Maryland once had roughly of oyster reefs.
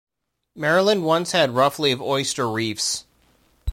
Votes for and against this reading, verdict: 1, 2, rejected